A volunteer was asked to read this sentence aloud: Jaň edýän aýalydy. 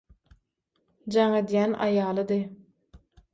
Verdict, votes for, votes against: accepted, 6, 0